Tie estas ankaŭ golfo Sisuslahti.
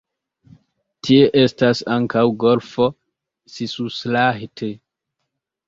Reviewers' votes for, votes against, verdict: 2, 0, accepted